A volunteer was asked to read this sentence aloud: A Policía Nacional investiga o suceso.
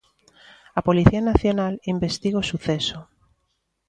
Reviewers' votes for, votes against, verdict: 2, 0, accepted